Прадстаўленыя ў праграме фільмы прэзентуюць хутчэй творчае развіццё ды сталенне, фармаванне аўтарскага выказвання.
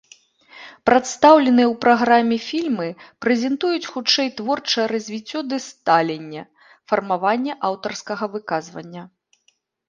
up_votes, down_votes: 0, 2